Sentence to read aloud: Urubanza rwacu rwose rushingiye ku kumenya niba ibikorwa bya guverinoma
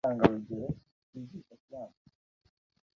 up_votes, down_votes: 0, 2